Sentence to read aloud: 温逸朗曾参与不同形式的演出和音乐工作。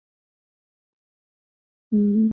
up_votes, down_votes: 1, 2